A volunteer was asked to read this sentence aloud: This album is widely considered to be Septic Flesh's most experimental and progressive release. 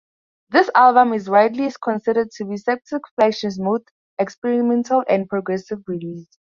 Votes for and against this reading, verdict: 4, 0, accepted